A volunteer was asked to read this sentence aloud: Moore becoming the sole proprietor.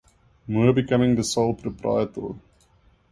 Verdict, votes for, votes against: accepted, 2, 1